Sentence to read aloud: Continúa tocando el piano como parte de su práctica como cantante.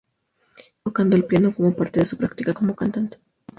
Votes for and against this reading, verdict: 2, 2, rejected